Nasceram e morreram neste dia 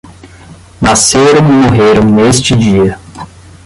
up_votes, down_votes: 5, 5